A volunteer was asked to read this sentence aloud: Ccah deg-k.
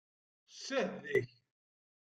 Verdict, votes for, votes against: rejected, 1, 2